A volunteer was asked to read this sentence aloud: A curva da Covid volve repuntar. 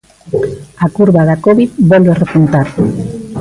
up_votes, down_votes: 2, 0